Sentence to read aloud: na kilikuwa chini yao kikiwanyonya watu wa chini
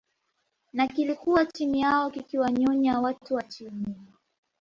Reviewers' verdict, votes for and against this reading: accepted, 2, 0